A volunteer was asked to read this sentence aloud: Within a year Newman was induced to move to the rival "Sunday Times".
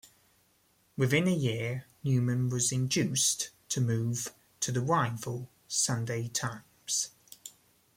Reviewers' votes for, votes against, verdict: 0, 2, rejected